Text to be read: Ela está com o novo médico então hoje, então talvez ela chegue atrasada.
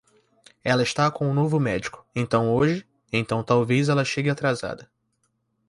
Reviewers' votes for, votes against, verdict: 1, 2, rejected